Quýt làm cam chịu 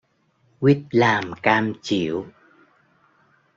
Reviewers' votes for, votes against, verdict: 1, 2, rejected